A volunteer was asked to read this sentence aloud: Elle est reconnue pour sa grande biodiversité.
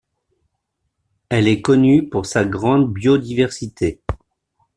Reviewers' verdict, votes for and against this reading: rejected, 1, 2